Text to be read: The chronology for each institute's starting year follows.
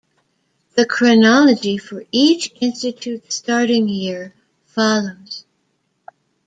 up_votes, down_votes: 2, 0